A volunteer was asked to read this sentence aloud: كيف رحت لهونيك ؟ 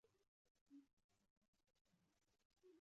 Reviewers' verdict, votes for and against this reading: rejected, 1, 2